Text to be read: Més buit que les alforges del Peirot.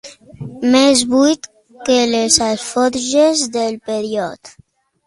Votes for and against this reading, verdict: 2, 0, accepted